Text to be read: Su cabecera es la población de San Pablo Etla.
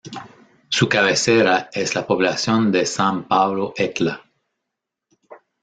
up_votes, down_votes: 0, 2